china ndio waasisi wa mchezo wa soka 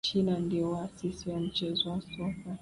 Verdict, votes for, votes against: accepted, 2, 1